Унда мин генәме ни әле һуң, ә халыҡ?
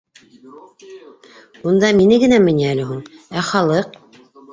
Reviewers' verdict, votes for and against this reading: rejected, 1, 2